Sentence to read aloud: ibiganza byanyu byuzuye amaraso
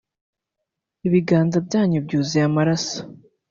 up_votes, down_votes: 1, 2